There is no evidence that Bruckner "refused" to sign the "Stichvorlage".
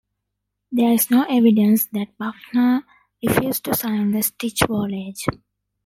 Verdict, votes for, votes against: rejected, 1, 2